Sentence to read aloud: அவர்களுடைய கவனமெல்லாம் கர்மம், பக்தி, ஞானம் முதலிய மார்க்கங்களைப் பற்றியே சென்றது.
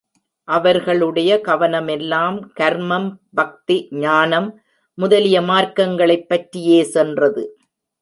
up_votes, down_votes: 2, 0